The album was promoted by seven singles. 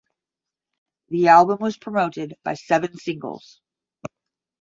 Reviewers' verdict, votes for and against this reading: accepted, 10, 0